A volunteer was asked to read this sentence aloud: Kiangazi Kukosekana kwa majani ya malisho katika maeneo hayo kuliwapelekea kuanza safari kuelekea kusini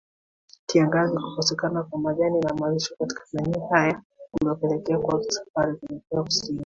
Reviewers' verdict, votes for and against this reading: accepted, 2, 1